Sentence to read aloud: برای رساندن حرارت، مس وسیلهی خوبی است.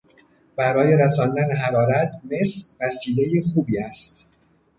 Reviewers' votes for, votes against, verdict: 1, 2, rejected